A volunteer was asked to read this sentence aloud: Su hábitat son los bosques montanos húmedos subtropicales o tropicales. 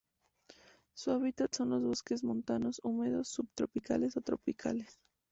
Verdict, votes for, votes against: rejected, 2, 2